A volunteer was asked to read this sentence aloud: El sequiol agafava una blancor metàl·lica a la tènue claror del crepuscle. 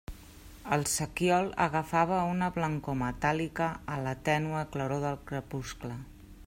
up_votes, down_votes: 2, 0